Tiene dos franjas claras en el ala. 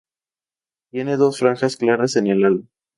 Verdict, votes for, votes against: rejected, 0, 4